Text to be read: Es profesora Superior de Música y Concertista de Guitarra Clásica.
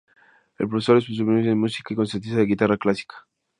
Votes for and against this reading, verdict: 0, 2, rejected